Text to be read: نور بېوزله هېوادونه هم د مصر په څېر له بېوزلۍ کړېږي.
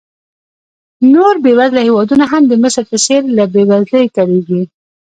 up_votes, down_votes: 1, 2